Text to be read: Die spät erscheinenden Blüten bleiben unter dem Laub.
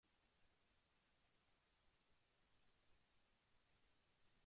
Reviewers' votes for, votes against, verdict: 1, 2, rejected